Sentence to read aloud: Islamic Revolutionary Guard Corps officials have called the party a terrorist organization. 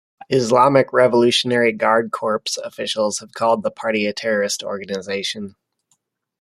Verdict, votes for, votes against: accepted, 2, 0